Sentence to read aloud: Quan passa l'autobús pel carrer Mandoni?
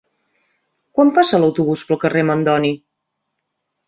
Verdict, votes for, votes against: accepted, 3, 0